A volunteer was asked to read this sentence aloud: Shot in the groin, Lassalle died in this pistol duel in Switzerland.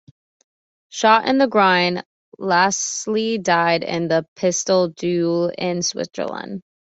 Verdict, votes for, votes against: rejected, 0, 2